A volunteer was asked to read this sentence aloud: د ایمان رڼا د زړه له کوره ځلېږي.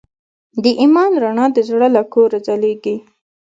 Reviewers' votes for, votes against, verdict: 1, 2, rejected